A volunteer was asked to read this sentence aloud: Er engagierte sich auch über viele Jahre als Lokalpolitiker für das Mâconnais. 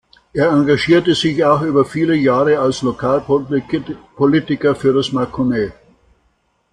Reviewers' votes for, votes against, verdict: 0, 2, rejected